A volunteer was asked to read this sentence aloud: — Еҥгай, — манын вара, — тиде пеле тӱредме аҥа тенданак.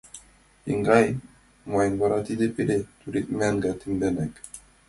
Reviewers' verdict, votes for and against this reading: accepted, 2, 1